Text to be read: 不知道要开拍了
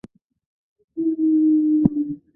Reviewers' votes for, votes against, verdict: 1, 2, rejected